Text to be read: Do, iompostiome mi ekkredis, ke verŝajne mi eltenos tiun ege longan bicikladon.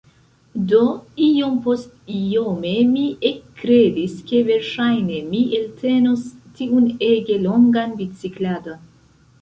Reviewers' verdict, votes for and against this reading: accepted, 2, 0